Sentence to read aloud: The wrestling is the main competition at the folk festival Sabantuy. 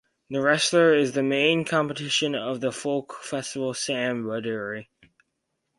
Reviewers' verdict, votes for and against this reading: rejected, 0, 4